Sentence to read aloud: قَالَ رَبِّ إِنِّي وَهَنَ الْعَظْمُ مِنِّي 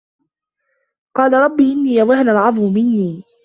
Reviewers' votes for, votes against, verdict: 2, 1, accepted